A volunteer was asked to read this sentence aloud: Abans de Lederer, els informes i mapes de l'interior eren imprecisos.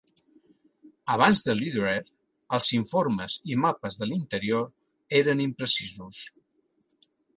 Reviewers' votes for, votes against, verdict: 3, 0, accepted